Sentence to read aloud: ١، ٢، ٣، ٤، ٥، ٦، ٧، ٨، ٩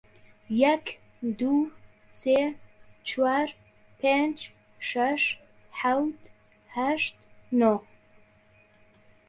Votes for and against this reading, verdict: 0, 2, rejected